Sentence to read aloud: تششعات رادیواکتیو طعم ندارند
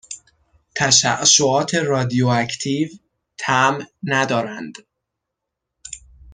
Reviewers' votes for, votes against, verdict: 2, 0, accepted